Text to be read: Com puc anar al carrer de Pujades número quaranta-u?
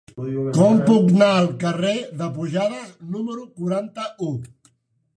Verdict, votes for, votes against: rejected, 0, 3